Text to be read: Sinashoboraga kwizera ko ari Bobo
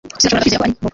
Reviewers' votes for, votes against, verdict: 0, 2, rejected